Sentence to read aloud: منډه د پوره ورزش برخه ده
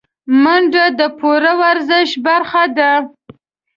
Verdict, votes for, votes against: accepted, 2, 0